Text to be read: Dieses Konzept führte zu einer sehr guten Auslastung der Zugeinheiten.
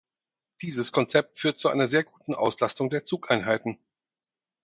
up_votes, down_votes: 0, 4